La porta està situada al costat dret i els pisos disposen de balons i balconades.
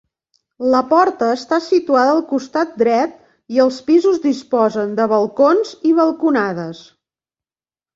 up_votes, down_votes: 1, 2